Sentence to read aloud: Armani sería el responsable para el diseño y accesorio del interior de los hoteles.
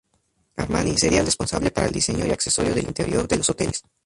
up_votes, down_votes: 0, 4